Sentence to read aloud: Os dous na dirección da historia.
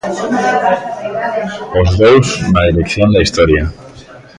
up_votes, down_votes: 0, 2